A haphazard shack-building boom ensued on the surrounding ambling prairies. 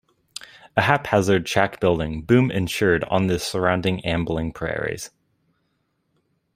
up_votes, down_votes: 0, 2